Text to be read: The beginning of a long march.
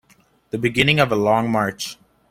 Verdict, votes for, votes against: accepted, 2, 0